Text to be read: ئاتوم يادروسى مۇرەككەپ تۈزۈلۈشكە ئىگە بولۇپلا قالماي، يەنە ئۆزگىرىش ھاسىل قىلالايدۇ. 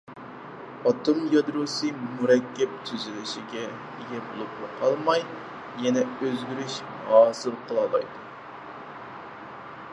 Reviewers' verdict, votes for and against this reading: rejected, 0, 4